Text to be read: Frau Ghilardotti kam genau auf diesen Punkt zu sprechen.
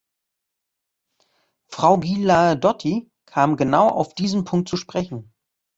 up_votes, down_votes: 1, 2